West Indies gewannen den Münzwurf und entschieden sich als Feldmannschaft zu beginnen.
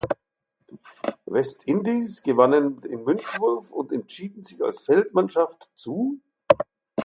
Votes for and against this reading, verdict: 0, 6, rejected